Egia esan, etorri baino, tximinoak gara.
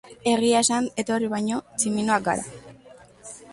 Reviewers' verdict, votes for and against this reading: accepted, 2, 0